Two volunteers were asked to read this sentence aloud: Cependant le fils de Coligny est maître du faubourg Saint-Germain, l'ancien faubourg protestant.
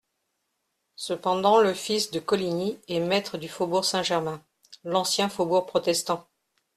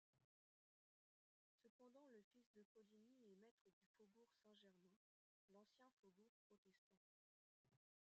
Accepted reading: first